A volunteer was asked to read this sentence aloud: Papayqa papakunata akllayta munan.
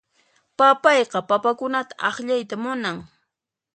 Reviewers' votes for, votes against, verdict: 2, 0, accepted